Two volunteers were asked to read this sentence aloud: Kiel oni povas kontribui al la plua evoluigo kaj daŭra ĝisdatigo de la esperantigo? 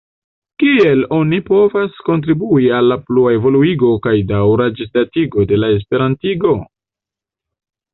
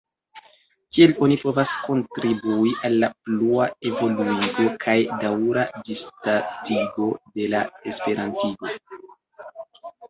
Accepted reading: first